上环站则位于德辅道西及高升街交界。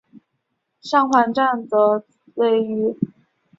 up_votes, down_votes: 0, 2